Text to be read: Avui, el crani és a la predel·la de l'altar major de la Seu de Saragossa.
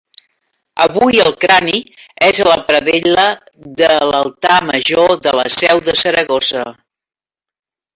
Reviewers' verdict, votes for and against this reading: accepted, 4, 3